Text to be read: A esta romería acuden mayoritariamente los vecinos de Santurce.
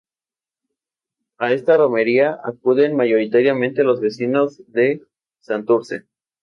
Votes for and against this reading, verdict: 2, 0, accepted